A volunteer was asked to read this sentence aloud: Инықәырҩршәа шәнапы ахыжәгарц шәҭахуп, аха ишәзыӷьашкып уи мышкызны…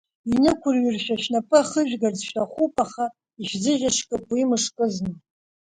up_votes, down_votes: 1, 2